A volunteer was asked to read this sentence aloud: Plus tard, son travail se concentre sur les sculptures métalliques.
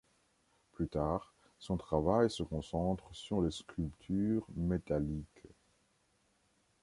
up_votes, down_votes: 2, 0